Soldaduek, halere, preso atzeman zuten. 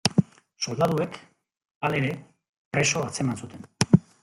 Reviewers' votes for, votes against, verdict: 0, 2, rejected